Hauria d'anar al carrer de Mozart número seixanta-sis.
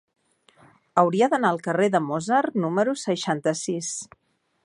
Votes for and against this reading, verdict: 2, 0, accepted